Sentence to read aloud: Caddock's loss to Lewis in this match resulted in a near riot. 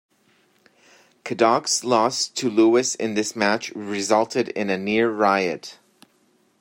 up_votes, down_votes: 1, 2